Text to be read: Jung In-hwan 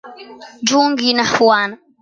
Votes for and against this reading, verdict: 0, 2, rejected